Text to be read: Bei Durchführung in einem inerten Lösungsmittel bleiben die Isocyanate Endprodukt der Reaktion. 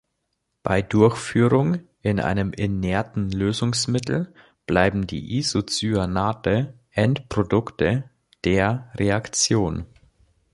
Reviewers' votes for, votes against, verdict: 1, 3, rejected